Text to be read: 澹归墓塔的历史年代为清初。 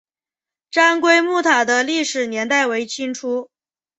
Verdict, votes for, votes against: accepted, 3, 1